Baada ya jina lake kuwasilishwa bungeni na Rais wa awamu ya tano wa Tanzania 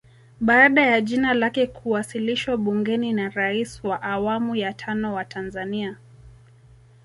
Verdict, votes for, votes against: accepted, 2, 1